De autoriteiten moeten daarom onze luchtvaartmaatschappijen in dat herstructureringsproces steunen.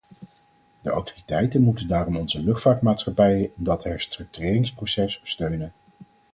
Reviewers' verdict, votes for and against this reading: accepted, 4, 0